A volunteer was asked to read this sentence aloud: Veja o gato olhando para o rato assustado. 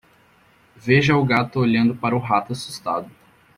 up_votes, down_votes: 2, 0